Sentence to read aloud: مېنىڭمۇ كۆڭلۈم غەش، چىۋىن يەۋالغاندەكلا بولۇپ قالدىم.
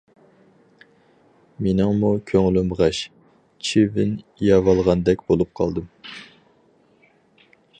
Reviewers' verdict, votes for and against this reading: rejected, 0, 4